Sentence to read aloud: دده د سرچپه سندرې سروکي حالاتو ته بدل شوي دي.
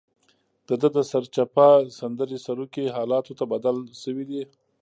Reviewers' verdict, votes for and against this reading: rejected, 0, 2